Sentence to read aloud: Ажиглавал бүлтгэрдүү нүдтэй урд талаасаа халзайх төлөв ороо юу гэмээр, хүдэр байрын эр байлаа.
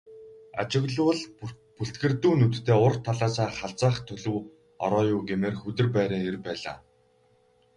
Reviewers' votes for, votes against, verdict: 0, 4, rejected